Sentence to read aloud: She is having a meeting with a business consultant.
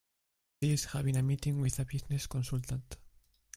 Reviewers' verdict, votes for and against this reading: rejected, 1, 2